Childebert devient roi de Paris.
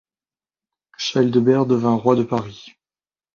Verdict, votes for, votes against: rejected, 1, 2